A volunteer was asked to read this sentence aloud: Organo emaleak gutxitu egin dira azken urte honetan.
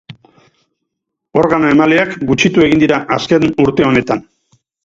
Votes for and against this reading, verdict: 2, 2, rejected